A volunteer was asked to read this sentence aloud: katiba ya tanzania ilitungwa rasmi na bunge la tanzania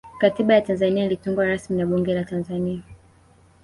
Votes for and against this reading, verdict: 2, 0, accepted